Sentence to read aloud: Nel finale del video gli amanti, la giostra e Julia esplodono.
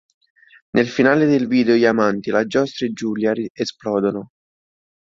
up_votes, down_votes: 1, 2